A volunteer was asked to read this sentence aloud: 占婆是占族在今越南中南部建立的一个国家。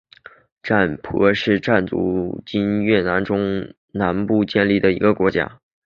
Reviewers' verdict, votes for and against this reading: accepted, 2, 0